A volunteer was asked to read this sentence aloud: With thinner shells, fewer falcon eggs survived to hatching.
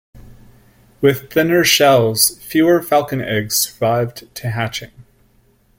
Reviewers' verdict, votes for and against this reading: rejected, 1, 2